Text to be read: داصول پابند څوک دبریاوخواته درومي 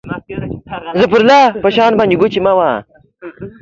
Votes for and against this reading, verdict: 0, 2, rejected